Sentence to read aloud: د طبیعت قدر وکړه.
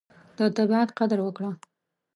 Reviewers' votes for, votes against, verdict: 2, 0, accepted